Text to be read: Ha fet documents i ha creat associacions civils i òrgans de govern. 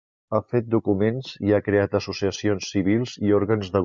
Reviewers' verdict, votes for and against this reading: rejected, 0, 2